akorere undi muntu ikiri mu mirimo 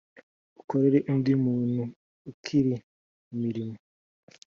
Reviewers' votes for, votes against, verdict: 2, 0, accepted